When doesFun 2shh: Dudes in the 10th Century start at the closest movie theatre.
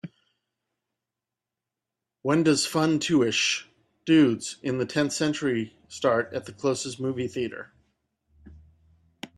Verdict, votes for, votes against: rejected, 0, 2